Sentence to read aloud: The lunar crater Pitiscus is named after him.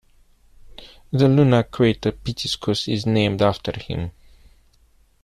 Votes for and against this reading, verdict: 1, 2, rejected